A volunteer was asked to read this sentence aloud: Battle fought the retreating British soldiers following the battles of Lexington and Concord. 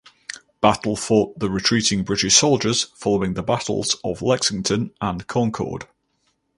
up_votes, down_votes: 2, 0